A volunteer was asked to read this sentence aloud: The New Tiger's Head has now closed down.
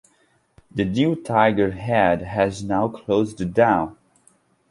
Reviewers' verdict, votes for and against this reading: rejected, 0, 2